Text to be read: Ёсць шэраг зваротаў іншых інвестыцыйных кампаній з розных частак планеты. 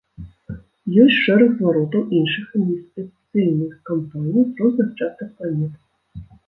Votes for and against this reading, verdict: 1, 2, rejected